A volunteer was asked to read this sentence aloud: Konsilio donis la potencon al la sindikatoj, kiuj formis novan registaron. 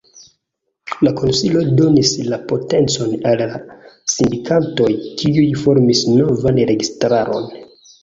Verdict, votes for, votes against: rejected, 1, 2